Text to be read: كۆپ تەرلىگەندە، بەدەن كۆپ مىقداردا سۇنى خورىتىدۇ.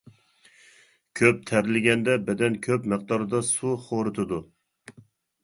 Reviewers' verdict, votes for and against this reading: rejected, 0, 2